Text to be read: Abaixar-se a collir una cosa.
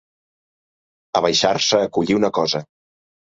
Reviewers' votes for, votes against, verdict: 4, 0, accepted